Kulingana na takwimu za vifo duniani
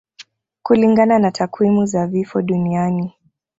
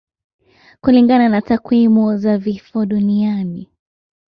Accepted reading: second